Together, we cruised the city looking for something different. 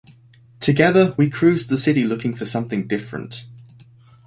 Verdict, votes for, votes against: accepted, 2, 0